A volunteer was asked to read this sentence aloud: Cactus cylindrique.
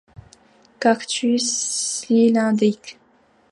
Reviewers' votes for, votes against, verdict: 0, 2, rejected